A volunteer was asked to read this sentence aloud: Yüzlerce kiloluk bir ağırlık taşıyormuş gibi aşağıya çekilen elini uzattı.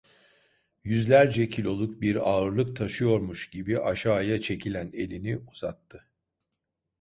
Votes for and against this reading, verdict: 2, 0, accepted